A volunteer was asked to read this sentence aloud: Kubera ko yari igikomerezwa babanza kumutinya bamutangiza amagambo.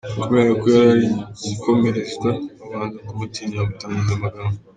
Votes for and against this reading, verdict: 1, 2, rejected